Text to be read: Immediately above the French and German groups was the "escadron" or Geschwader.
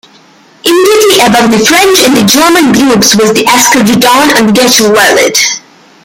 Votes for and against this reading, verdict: 0, 2, rejected